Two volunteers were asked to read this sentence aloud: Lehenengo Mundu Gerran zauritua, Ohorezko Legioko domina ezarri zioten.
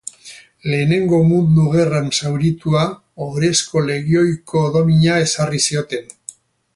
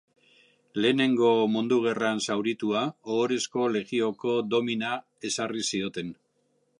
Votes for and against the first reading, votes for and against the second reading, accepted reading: 2, 2, 3, 2, second